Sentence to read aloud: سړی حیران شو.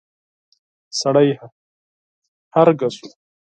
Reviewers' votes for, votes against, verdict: 0, 4, rejected